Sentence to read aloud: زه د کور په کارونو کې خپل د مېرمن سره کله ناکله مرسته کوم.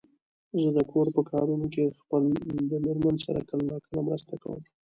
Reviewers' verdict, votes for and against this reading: rejected, 1, 2